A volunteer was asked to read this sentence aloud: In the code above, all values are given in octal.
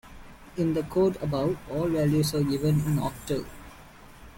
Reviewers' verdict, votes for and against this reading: accepted, 2, 0